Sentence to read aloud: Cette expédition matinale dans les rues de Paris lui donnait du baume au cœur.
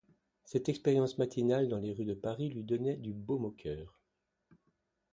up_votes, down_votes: 0, 2